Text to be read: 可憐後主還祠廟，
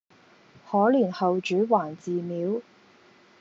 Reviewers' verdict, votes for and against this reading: accepted, 2, 0